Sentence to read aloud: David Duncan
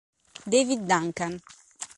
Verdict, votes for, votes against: accepted, 2, 0